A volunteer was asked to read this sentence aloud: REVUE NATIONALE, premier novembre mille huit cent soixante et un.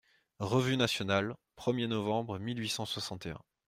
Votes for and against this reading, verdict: 2, 0, accepted